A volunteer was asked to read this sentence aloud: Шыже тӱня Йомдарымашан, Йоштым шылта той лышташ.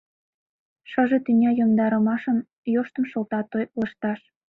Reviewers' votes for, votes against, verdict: 0, 2, rejected